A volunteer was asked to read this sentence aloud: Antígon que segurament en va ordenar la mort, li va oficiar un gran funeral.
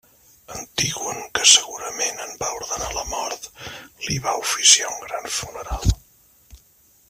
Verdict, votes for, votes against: rejected, 0, 2